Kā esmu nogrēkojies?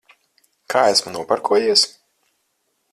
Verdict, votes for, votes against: rejected, 0, 4